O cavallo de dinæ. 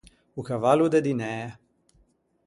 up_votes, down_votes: 4, 0